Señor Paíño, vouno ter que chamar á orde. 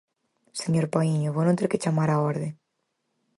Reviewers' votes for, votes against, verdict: 4, 0, accepted